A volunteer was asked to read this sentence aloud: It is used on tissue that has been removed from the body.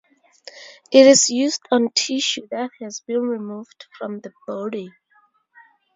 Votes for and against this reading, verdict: 0, 2, rejected